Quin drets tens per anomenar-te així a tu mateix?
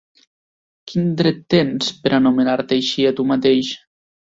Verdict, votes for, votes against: rejected, 0, 2